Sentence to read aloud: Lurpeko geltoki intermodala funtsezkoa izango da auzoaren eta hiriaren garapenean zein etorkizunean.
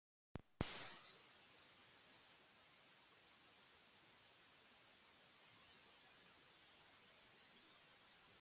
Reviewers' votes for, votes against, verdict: 0, 2, rejected